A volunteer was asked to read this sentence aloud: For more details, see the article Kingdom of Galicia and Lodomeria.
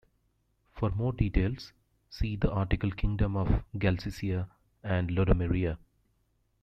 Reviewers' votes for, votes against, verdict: 0, 2, rejected